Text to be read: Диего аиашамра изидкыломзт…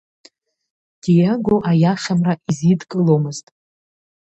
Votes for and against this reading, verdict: 0, 2, rejected